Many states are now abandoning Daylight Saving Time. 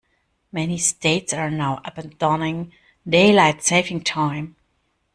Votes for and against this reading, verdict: 0, 2, rejected